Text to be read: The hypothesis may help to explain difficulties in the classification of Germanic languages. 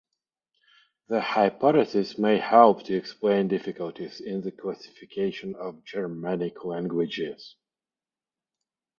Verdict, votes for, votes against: rejected, 3, 3